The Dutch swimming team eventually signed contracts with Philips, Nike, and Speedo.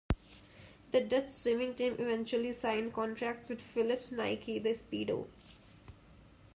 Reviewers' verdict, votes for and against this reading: accepted, 2, 0